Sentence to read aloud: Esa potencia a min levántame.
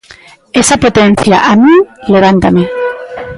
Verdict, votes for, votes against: accepted, 2, 0